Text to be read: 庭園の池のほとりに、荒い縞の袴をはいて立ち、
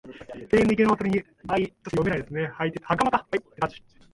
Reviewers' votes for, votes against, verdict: 0, 2, rejected